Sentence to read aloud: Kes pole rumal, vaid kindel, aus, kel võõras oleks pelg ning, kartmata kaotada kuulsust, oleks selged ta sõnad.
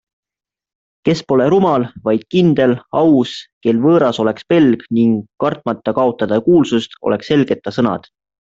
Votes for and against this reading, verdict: 2, 0, accepted